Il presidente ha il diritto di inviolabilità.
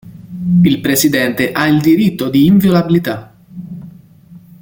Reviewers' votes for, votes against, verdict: 1, 2, rejected